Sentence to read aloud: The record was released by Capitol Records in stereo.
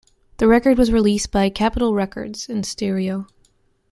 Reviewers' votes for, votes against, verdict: 2, 0, accepted